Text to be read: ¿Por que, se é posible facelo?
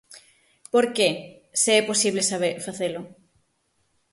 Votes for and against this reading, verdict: 0, 6, rejected